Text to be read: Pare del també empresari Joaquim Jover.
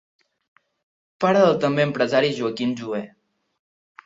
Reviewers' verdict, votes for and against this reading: rejected, 1, 2